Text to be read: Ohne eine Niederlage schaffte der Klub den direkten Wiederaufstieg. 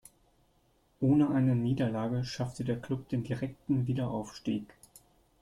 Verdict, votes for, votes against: accepted, 3, 0